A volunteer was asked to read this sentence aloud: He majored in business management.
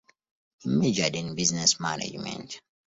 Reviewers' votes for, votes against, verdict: 2, 0, accepted